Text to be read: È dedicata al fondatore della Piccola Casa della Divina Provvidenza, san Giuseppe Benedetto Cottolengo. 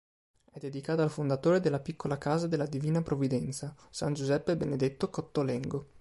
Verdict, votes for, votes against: accepted, 2, 0